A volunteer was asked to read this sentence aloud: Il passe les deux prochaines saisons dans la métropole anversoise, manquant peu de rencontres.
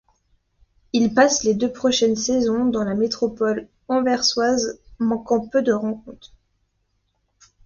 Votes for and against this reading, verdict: 2, 0, accepted